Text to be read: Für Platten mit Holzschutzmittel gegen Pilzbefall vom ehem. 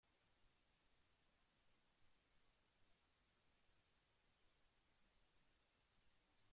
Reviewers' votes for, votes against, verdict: 0, 2, rejected